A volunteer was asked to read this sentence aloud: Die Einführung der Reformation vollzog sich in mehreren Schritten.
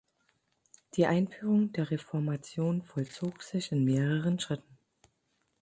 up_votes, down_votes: 12, 0